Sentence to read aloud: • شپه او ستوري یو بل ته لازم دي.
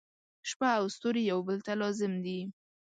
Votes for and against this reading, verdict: 2, 0, accepted